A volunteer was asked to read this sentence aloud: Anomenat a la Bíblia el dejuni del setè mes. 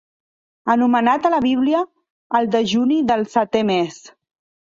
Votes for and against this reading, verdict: 2, 0, accepted